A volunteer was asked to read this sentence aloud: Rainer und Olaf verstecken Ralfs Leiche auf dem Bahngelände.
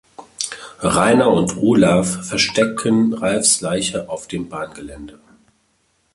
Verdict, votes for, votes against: accepted, 2, 1